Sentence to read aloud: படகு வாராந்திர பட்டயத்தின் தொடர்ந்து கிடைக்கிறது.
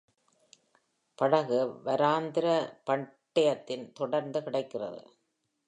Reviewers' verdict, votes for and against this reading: rejected, 1, 2